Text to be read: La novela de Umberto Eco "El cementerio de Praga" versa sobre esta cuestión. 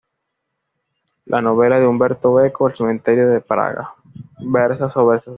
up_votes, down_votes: 1, 2